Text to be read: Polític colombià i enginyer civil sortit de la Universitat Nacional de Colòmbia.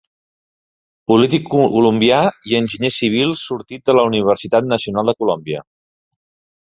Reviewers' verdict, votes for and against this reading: rejected, 0, 3